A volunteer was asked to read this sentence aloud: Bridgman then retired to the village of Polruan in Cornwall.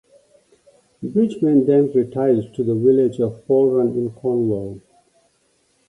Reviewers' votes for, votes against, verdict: 2, 0, accepted